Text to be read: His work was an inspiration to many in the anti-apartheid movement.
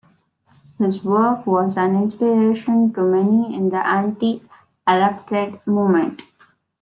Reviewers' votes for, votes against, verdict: 0, 2, rejected